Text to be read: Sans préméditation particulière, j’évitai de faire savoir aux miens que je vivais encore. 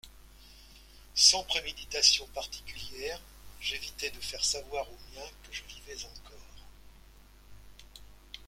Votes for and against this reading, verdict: 2, 0, accepted